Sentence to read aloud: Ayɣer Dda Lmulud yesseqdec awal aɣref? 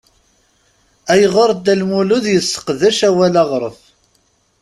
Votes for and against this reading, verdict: 2, 0, accepted